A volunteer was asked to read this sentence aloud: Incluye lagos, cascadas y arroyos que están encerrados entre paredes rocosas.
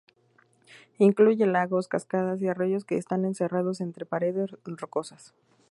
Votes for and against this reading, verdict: 0, 2, rejected